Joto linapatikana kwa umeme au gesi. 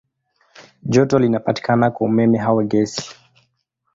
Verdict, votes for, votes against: accepted, 2, 1